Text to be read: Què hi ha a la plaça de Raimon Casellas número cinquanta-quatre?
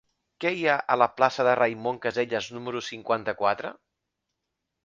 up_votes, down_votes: 3, 0